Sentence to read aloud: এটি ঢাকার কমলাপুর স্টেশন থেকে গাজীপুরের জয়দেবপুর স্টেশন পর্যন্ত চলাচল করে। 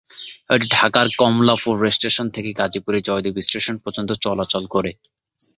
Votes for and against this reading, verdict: 0, 2, rejected